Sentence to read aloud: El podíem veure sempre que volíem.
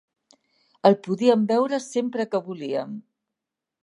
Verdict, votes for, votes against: accepted, 3, 0